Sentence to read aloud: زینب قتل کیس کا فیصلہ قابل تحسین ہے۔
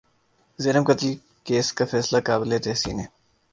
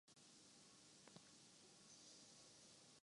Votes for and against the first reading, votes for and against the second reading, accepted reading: 2, 0, 0, 2, first